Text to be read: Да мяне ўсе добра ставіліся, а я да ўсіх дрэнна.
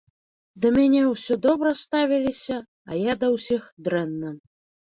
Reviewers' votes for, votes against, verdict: 0, 2, rejected